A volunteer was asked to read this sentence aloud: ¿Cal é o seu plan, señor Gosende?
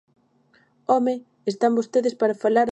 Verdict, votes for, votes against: rejected, 0, 2